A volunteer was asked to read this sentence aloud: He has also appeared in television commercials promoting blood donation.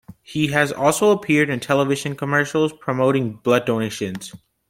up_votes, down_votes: 1, 2